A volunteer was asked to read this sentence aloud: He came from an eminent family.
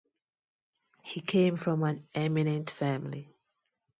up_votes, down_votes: 2, 0